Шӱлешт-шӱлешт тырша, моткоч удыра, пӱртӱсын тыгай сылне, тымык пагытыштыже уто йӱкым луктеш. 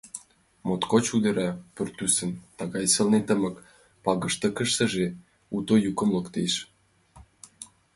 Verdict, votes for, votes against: rejected, 0, 2